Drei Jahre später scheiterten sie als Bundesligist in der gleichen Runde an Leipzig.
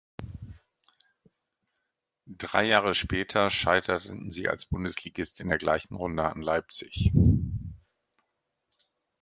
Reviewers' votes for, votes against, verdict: 1, 2, rejected